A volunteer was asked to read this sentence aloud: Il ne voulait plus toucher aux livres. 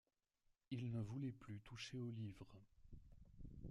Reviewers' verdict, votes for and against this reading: rejected, 1, 2